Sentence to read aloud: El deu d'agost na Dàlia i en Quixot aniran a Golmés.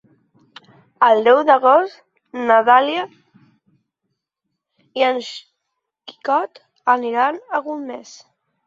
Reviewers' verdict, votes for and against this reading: rejected, 0, 3